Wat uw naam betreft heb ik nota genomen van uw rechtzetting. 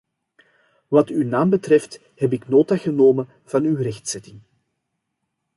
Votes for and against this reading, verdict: 2, 0, accepted